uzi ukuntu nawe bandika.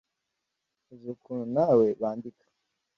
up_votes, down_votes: 2, 0